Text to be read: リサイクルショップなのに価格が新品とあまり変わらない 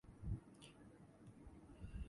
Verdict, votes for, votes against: rejected, 0, 2